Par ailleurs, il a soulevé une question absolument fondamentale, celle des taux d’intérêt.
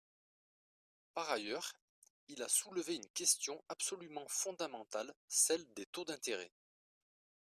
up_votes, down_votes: 2, 0